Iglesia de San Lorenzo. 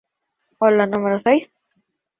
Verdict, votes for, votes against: rejected, 0, 2